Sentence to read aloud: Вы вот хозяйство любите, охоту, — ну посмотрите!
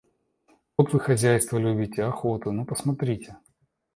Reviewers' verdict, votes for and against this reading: accepted, 2, 1